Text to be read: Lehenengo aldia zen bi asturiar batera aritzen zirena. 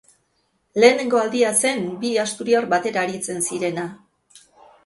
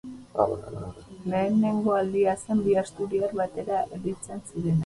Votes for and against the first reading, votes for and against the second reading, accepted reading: 2, 0, 2, 4, first